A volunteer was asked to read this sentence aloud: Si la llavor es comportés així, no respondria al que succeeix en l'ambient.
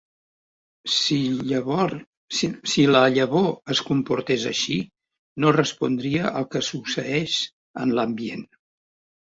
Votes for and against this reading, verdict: 0, 2, rejected